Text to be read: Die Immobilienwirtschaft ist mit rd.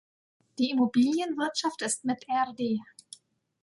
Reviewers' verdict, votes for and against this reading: rejected, 0, 2